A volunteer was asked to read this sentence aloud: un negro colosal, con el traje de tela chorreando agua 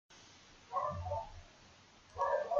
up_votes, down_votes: 0, 2